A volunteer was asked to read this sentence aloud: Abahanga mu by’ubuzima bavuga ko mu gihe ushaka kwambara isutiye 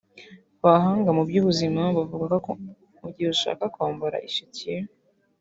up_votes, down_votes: 2, 0